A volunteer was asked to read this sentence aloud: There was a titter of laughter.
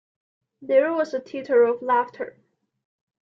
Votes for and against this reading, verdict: 2, 1, accepted